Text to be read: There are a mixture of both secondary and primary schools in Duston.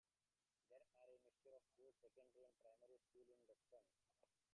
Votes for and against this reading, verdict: 0, 2, rejected